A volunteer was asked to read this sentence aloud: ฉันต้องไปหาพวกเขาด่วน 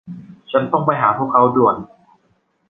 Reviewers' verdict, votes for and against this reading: accepted, 2, 0